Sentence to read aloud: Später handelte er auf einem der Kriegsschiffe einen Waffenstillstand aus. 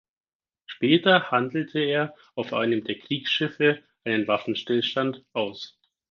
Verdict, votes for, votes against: accepted, 4, 0